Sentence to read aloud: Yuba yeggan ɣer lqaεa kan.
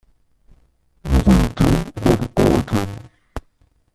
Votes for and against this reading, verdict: 0, 2, rejected